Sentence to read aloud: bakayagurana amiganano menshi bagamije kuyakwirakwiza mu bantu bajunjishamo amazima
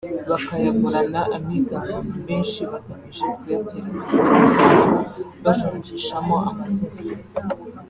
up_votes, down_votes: 1, 2